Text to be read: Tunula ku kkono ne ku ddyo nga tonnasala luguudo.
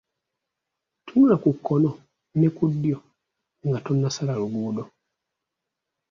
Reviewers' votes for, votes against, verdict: 1, 2, rejected